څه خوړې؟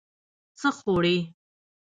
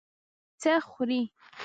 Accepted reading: second